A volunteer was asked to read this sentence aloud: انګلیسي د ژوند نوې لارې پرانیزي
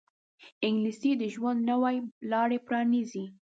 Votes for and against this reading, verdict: 0, 2, rejected